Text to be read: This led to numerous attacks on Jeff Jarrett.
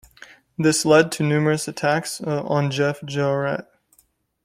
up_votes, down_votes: 0, 2